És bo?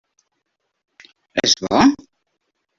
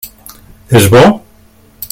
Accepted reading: second